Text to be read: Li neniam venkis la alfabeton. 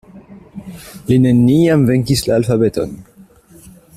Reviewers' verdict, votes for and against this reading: accepted, 2, 1